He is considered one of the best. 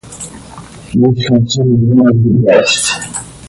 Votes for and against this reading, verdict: 0, 2, rejected